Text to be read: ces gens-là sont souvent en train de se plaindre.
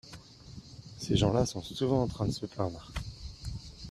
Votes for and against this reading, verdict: 0, 2, rejected